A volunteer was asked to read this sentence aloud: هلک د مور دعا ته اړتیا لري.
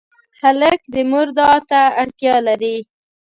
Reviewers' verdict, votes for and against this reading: accepted, 2, 0